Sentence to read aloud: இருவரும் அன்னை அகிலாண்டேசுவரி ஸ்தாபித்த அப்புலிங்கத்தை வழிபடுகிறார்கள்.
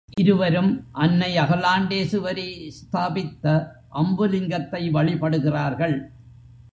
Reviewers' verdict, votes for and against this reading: rejected, 0, 2